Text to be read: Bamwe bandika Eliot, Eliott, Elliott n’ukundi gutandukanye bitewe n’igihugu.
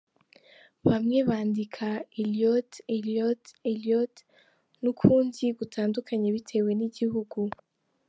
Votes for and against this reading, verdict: 3, 1, accepted